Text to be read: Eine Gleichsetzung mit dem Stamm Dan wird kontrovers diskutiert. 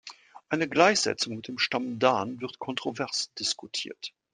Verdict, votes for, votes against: accepted, 2, 0